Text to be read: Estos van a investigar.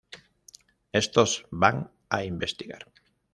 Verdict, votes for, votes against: accepted, 2, 0